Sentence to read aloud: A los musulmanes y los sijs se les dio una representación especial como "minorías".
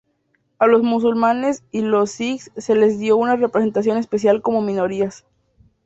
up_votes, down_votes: 4, 0